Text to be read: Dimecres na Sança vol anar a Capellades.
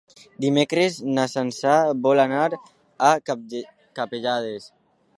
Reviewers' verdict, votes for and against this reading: rejected, 0, 2